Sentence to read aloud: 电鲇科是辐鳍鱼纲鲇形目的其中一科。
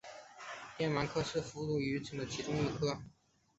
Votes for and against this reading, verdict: 0, 3, rejected